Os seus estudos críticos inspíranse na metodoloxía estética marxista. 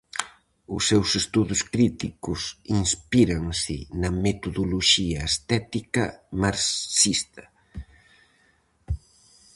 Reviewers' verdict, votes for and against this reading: rejected, 0, 4